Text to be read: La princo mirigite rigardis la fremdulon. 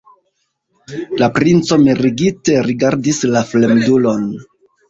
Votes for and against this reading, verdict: 2, 0, accepted